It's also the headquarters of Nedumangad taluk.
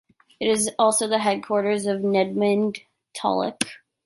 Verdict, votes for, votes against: rejected, 0, 2